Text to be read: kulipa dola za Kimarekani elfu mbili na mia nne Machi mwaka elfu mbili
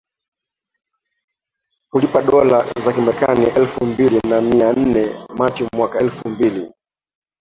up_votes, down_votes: 2, 1